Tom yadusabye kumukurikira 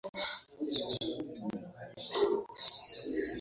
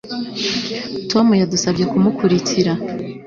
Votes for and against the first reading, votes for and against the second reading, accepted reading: 1, 2, 3, 0, second